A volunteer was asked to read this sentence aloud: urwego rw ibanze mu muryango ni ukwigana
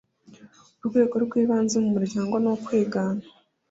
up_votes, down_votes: 2, 0